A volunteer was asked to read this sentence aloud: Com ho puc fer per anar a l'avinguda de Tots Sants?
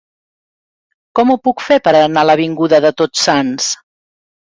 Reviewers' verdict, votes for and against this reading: accepted, 3, 0